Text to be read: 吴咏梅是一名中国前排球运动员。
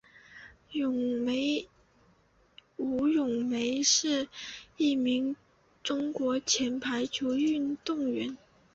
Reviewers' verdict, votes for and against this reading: rejected, 0, 4